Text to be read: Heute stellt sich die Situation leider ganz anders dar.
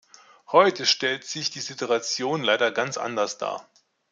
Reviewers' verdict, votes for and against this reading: accepted, 2, 1